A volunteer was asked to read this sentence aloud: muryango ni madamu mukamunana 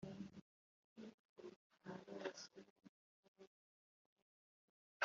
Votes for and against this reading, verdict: 0, 2, rejected